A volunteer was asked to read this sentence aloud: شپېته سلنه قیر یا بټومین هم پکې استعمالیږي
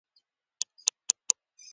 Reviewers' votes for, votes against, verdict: 0, 2, rejected